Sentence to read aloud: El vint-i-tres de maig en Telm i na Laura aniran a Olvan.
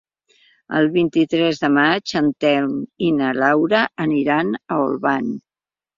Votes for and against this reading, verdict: 3, 0, accepted